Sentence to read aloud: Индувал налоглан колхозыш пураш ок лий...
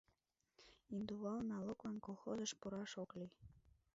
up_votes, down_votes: 1, 2